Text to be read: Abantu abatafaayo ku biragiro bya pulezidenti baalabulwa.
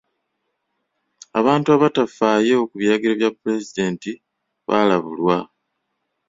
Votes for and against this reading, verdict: 2, 0, accepted